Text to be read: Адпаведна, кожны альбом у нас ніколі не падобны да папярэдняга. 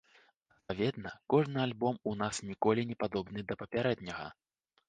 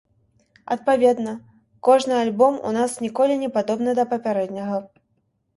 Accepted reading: second